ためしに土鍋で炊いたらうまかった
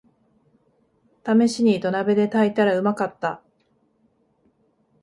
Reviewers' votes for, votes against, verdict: 3, 0, accepted